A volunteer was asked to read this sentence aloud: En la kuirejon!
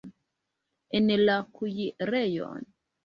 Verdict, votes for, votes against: rejected, 1, 2